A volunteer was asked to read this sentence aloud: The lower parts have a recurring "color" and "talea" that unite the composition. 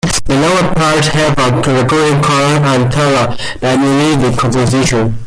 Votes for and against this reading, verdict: 0, 2, rejected